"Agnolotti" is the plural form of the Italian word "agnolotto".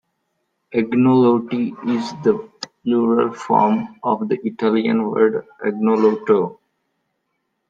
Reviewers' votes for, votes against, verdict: 2, 0, accepted